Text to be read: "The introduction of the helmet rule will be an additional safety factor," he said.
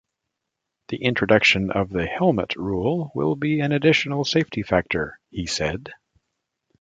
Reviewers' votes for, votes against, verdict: 2, 0, accepted